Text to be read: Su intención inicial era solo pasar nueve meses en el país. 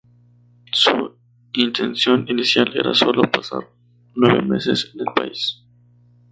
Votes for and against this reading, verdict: 2, 0, accepted